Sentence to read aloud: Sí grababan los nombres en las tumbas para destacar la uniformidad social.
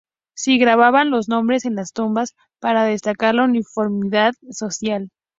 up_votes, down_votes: 2, 0